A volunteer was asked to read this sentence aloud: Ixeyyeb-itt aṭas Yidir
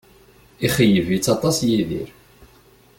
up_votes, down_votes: 2, 0